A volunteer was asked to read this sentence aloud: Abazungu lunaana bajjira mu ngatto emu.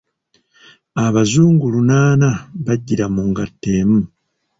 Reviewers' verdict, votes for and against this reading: rejected, 0, 2